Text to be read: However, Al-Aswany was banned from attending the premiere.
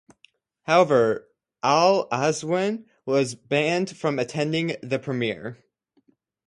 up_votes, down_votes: 0, 4